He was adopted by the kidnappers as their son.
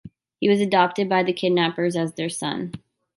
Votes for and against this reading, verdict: 2, 1, accepted